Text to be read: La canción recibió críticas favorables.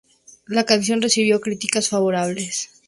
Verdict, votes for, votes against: accepted, 2, 0